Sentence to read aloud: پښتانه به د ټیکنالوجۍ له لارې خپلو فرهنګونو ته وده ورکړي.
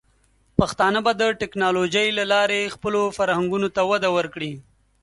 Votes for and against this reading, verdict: 2, 0, accepted